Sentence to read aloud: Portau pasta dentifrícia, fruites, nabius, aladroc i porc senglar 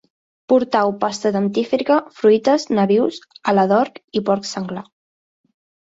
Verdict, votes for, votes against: rejected, 1, 3